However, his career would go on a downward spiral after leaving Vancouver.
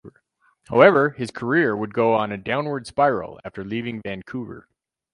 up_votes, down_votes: 0, 2